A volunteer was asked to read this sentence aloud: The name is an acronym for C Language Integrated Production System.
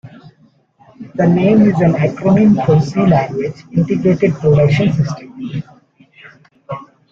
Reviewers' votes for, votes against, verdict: 2, 1, accepted